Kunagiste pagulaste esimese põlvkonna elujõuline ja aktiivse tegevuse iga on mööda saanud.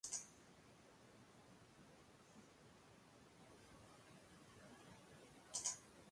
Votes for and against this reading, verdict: 0, 2, rejected